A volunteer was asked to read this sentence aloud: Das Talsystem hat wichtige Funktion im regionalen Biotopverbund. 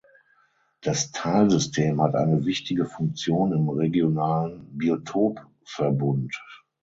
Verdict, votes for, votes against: rejected, 0, 6